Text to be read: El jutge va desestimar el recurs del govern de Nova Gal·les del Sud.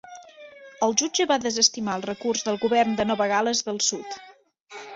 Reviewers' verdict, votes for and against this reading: accepted, 3, 0